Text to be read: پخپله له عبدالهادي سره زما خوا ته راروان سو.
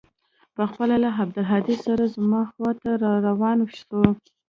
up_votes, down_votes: 2, 0